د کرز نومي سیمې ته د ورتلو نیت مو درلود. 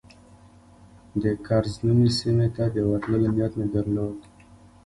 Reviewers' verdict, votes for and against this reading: accepted, 2, 0